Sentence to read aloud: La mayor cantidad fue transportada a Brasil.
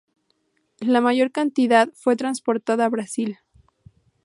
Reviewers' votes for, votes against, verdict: 2, 0, accepted